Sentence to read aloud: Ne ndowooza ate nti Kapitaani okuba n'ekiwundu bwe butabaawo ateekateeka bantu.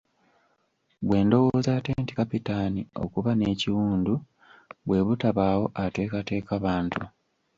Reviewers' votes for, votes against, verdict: 0, 2, rejected